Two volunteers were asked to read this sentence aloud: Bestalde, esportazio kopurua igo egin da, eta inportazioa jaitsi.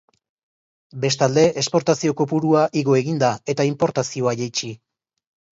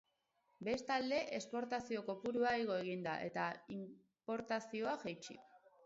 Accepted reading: first